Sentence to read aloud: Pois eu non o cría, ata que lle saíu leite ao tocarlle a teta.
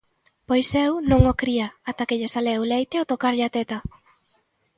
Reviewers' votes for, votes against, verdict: 0, 2, rejected